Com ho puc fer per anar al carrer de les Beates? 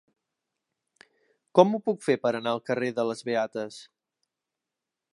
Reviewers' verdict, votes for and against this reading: accepted, 4, 0